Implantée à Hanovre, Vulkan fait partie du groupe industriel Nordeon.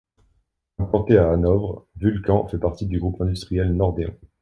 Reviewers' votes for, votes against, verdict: 2, 0, accepted